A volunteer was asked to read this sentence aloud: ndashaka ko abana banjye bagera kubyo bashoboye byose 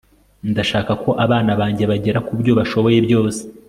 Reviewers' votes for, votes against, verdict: 2, 0, accepted